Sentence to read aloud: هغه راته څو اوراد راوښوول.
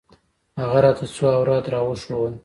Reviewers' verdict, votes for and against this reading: accepted, 2, 0